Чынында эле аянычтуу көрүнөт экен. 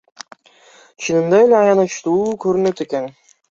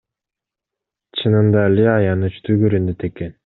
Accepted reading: second